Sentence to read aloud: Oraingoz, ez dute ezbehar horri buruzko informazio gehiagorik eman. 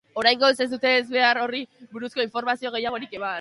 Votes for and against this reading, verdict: 2, 0, accepted